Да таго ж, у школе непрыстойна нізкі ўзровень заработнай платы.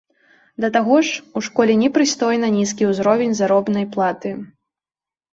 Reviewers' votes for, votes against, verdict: 0, 2, rejected